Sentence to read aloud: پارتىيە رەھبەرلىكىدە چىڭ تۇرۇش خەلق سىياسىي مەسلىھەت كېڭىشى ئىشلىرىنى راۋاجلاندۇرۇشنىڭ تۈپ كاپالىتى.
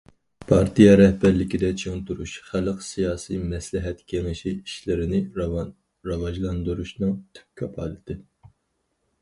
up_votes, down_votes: 0, 4